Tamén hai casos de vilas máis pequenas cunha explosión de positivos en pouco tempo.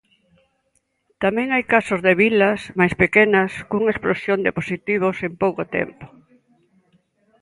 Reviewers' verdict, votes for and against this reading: accepted, 2, 1